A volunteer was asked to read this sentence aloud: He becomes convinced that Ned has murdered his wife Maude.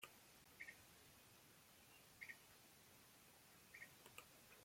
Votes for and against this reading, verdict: 0, 2, rejected